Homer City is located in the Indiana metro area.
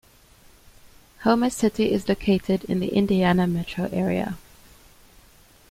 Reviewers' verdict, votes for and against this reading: accepted, 2, 1